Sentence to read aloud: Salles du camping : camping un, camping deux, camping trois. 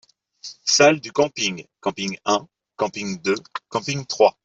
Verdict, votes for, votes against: accepted, 2, 0